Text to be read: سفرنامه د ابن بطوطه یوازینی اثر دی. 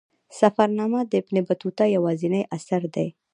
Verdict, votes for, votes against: accepted, 2, 0